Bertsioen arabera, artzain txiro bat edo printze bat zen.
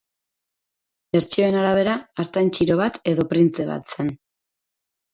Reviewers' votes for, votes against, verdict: 4, 6, rejected